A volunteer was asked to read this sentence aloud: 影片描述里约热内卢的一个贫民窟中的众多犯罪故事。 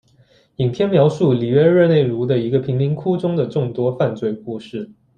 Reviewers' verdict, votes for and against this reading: accepted, 2, 0